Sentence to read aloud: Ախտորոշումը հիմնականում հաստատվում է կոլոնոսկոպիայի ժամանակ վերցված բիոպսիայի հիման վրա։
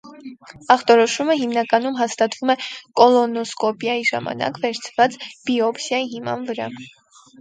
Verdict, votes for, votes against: rejected, 0, 2